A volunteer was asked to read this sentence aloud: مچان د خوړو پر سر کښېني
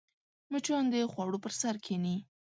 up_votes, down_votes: 2, 0